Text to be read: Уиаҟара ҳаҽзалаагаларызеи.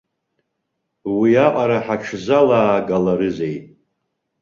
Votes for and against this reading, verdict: 2, 1, accepted